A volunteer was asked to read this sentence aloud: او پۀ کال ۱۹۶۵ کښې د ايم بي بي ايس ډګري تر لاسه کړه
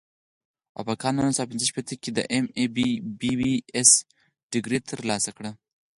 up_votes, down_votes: 0, 2